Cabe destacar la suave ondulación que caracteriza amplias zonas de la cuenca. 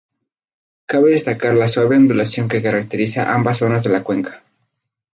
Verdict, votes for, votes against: rejected, 0, 2